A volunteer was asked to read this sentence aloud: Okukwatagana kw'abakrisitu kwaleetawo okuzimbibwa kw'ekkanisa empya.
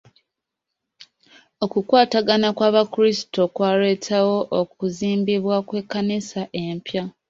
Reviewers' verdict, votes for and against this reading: accepted, 2, 0